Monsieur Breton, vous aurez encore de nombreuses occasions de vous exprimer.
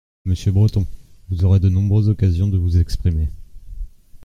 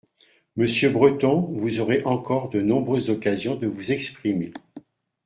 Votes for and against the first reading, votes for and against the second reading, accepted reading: 0, 2, 2, 0, second